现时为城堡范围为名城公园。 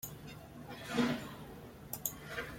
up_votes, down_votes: 0, 2